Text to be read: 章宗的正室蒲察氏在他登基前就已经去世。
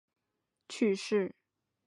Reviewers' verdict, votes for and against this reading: rejected, 2, 6